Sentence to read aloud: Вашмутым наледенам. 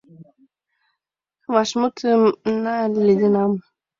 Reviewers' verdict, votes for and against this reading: accepted, 2, 1